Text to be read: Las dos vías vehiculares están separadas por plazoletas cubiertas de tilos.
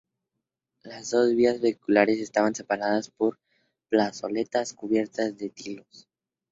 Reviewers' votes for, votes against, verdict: 2, 0, accepted